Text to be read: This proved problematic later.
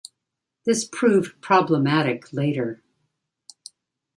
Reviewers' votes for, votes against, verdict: 2, 0, accepted